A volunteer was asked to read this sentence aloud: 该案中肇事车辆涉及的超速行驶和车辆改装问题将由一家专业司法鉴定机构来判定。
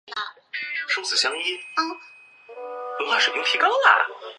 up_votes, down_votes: 1, 3